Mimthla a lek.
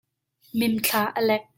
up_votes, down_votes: 2, 0